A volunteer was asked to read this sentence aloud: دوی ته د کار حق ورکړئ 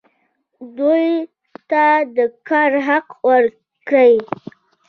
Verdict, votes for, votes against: rejected, 1, 2